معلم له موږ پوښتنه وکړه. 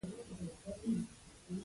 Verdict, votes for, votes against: rejected, 1, 2